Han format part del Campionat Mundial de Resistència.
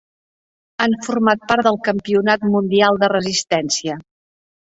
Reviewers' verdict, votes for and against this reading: accepted, 3, 0